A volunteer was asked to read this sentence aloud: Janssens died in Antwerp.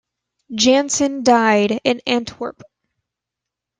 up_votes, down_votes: 0, 2